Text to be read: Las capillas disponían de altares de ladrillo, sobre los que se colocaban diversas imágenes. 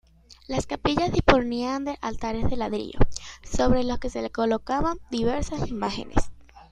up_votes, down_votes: 0, 2